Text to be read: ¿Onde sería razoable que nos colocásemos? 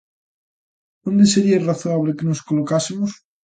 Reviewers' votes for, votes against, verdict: 2, 0, accepted